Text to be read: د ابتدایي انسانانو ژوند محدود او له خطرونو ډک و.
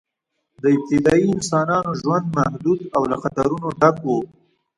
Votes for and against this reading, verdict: 2, 1, accepted